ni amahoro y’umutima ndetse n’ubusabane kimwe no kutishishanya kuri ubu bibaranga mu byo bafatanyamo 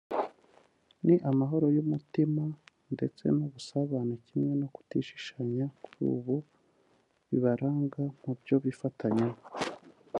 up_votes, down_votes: 1, 3